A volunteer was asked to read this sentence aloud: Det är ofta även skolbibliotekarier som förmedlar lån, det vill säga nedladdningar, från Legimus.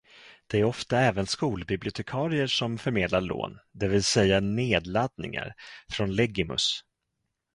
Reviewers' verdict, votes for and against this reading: accepted, 2, 0